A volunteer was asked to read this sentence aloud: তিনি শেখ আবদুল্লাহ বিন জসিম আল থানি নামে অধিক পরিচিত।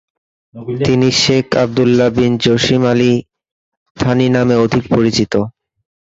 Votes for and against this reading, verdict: 1, 2, rejected